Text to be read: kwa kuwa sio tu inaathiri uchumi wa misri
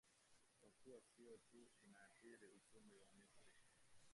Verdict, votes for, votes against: rejected, 1, 2